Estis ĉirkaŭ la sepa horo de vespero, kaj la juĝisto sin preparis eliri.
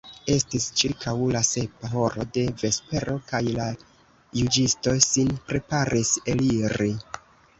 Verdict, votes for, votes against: accepted, 2, 0